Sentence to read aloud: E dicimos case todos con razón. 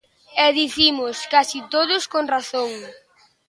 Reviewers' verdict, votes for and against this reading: rejected, 1, 2